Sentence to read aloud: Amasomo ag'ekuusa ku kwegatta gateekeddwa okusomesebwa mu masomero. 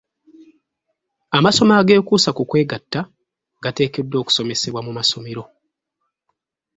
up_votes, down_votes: 2, 0